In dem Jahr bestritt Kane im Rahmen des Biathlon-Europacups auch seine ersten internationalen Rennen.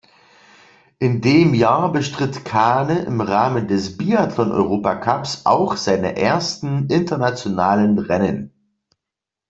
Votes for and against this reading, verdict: 2, 0, accepted